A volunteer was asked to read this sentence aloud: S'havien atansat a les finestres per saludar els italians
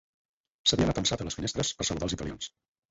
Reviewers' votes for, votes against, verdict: 4, 2, accepted